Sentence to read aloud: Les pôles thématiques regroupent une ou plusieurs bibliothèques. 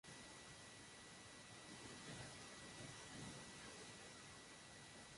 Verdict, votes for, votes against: rejected, 0, 2